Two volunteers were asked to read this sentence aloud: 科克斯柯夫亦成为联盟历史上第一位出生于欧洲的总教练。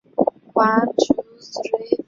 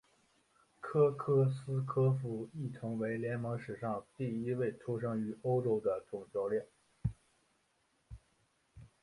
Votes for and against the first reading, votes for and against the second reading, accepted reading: 0, 2, 4, 1, second